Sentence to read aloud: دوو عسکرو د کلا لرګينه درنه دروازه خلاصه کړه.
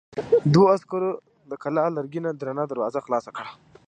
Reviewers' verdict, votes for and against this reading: accepted, 3, 0